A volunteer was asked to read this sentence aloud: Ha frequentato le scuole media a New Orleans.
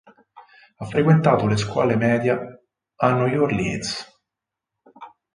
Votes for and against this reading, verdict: 2, 4, rejected